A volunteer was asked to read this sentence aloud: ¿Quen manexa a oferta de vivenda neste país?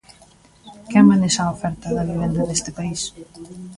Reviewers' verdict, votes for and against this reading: rejected, 0, 2